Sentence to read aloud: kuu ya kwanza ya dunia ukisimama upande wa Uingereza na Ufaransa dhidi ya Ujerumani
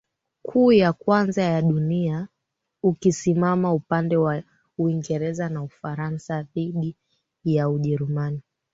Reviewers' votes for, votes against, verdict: 2, 0, accepted